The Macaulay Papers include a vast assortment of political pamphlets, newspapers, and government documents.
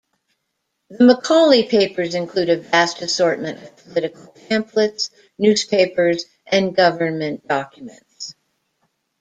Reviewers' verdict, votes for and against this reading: rejected, 0, 2